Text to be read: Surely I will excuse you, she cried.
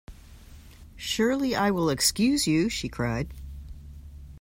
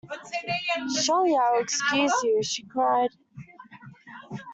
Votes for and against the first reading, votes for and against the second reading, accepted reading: 2, 0, 0, 2, first